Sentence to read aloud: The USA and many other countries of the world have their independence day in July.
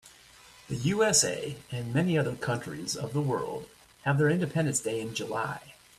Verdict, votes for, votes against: accepted, 2, 0